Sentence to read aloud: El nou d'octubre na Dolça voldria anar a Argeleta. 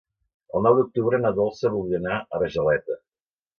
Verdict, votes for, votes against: rejected, 0, 2